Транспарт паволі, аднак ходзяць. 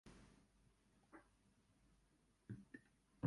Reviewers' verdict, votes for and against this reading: rejected, 1, 2